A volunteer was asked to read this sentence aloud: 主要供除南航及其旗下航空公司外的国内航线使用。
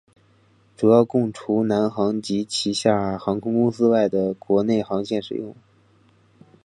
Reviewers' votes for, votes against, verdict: 0, 2, rejected